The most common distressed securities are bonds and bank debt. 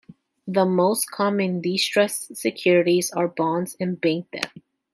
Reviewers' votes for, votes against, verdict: 2, 0, accepted